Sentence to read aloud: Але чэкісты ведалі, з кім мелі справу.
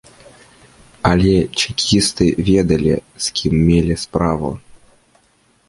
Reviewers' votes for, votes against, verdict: 2, 0, accepted